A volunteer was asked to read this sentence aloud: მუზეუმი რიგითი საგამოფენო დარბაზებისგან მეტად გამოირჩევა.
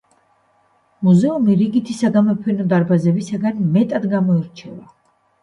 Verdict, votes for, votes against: accepted, 2, 0